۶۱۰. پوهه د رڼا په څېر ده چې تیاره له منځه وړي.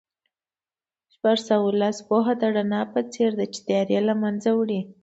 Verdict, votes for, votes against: rejected, 0, 2